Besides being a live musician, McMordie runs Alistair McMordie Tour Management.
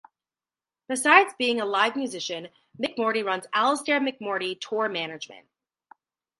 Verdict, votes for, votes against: accepted, 2, 0